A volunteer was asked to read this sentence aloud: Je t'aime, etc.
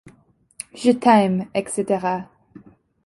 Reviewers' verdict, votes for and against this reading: accepted, 2, 0